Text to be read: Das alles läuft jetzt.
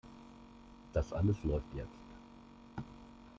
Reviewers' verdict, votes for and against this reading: rejected, 0, 2